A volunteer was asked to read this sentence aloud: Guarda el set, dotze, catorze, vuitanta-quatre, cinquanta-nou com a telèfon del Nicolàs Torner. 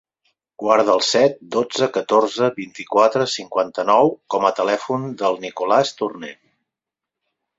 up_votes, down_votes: 2, 6